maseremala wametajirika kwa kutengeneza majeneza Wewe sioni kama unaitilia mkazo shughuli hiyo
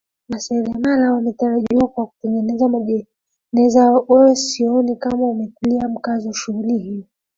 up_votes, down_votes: 0, 2